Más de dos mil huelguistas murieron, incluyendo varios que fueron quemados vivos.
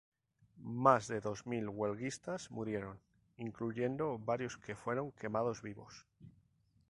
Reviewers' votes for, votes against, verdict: 2, 0, accepted